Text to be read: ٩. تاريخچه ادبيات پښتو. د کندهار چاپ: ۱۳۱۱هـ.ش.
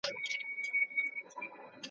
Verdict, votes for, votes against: rejected, 0, 2